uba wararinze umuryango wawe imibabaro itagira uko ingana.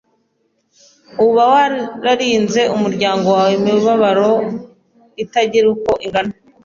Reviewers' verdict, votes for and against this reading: accepted, 2, 1